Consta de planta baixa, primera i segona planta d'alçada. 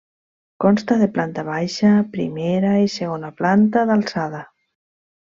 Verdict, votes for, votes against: accepted, 3, 0